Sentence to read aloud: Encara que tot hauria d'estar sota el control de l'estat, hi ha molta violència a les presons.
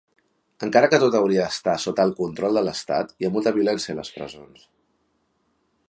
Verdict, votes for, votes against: accepted, 3, 0